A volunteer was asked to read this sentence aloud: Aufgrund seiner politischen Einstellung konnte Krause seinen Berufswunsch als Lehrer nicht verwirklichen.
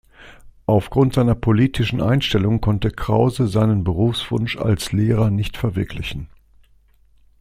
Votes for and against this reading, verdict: 2, 0, accepted